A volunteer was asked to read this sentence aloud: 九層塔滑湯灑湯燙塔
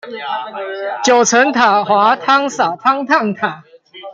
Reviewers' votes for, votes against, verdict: 2, 0, accepted